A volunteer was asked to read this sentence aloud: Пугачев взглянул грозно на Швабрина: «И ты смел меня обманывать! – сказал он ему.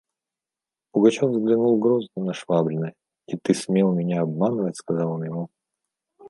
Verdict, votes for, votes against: accepted, 2, 0